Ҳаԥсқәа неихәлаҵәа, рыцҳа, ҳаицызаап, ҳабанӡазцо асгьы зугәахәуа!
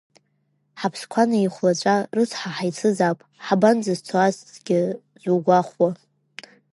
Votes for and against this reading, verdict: 2, 0, accepted